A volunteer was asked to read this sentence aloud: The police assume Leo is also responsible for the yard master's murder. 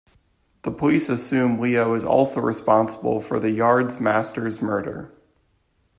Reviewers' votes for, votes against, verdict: 2, 1, accepted